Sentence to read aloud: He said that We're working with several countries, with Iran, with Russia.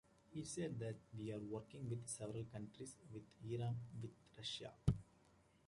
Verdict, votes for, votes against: rejected, 0, 2